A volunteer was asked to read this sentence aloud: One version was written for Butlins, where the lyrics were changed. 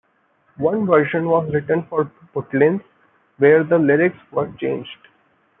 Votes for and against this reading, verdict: 2, 1, accepted